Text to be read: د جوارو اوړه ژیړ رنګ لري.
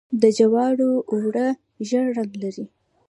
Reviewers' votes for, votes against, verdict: 2, 0, accepted